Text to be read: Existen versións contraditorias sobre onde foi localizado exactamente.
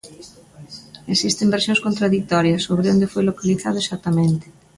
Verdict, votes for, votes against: accepted, 2, 0